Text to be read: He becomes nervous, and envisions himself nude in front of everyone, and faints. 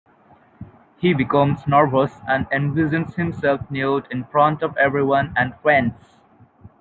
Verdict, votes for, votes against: rejected, 1, 2